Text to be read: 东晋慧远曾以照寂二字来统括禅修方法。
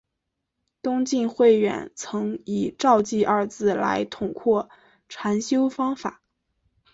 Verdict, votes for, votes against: accepted, 2, 0